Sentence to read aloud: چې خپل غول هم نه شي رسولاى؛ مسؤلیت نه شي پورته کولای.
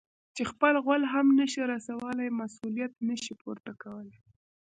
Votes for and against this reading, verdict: 1, 2, rejected